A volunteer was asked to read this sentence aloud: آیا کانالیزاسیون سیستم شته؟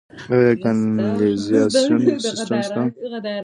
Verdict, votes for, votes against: accepted, 2, 1